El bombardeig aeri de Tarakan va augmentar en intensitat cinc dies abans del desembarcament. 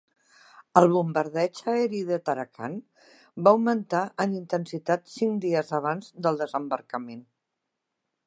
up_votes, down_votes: 2, 0